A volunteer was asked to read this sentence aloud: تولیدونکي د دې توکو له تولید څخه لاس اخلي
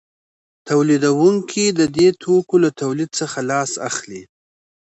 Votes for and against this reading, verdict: 2, 0, accepted